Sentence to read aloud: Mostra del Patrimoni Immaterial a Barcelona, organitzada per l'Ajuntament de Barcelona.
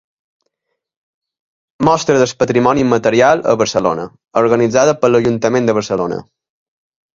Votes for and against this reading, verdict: 2, 0, accepted